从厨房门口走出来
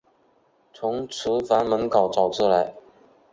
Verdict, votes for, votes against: accepted, 3, 0